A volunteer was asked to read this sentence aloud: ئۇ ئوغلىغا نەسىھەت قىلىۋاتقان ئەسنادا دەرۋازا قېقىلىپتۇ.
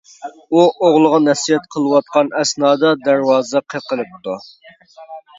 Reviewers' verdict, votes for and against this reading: accepted, 2, 0